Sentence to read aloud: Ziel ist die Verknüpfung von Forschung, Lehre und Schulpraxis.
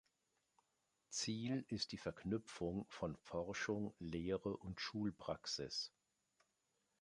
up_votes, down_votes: 2, 0